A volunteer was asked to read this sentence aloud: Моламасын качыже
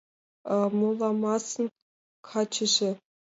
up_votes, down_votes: 2, 1